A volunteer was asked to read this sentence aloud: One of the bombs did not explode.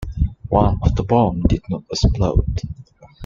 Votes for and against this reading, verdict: 2, 1, accepted